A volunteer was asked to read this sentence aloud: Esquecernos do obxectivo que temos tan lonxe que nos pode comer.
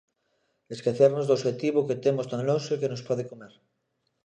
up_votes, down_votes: 2, 0